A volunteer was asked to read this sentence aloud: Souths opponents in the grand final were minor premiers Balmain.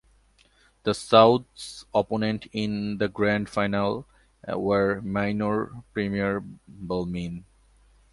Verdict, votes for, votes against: rejected, 1, 2